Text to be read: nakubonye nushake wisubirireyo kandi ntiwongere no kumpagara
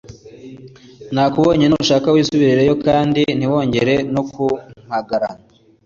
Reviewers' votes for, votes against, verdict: 2, 0, accepted